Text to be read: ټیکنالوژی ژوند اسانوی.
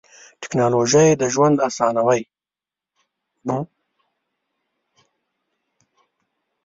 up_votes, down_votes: 0, 2